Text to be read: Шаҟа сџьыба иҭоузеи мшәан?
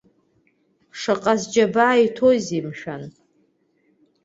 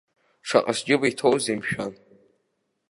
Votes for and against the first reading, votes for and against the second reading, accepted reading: 2, 3, 2, 0, second